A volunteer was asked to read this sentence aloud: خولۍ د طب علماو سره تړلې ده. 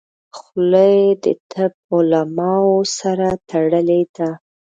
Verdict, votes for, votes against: rejected, 1, 2